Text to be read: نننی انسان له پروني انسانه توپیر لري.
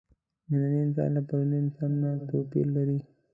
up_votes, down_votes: 0, 2